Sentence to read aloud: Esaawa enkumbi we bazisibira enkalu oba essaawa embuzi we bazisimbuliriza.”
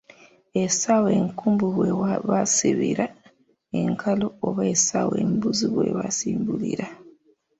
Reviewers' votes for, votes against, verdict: 0, 2, rejected